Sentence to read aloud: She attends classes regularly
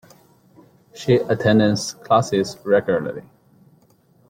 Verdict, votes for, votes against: rejected, 1, 2